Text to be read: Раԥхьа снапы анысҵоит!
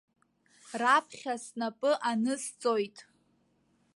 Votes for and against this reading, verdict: 2, 0, accepted